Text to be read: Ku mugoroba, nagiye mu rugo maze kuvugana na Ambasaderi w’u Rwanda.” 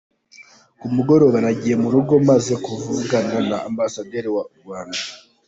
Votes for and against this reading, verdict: 2, 1, accepted